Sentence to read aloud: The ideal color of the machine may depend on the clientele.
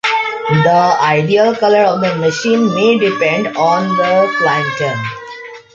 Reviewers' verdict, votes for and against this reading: rejected, 0, 2